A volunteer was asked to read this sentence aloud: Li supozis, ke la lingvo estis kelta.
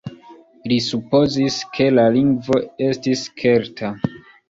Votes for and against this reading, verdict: 2, 0, accepted